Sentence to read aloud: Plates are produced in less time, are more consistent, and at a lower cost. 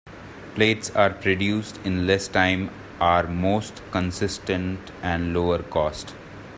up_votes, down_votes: 0, 2